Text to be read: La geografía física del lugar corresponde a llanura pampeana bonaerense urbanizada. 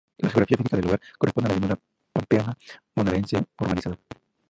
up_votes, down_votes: 0, 2